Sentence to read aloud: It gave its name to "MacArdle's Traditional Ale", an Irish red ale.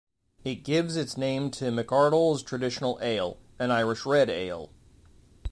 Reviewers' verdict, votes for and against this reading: rejected, 1, 2